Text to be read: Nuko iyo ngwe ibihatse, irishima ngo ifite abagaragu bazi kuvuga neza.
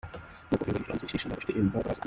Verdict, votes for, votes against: rejected, 0, 2